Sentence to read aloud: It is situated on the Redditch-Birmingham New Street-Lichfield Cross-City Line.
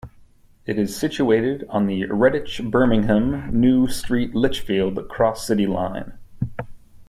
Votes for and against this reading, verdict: 2, 0, accepted